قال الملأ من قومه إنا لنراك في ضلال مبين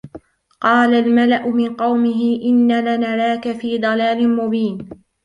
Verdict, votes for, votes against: rejected, 0, 2